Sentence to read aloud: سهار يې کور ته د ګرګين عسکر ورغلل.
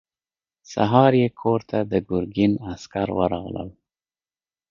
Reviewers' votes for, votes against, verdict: 2, 0, accepted